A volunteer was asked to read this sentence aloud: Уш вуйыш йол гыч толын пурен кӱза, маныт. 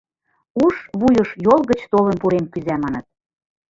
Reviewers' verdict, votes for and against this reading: rejected, 0, 2